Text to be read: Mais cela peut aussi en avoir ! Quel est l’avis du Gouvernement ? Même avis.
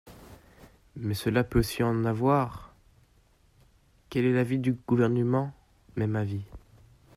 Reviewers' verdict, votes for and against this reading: rejected, 1, 2